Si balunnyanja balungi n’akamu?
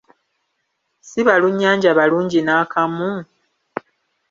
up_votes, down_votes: 2, 0